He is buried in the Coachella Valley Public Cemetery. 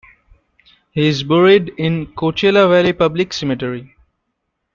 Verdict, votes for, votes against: rejected, 0, 2